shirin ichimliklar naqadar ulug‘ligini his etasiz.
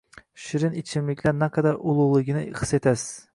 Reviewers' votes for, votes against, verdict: 2, 0, accepted